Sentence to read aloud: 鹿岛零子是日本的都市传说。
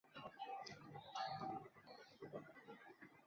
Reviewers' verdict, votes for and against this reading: rejected, 0, 5